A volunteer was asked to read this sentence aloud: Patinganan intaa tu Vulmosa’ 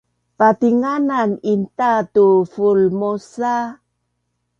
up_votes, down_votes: 2, 0